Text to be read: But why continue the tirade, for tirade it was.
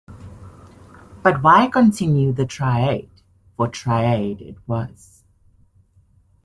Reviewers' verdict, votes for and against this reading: rejected, 0, 2